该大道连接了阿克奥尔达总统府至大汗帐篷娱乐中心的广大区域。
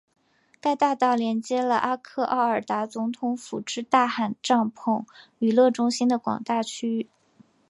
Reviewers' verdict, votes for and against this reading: accepted, 5, 0